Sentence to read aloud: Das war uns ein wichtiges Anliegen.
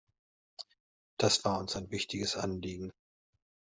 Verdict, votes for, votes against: accepted, 2, 0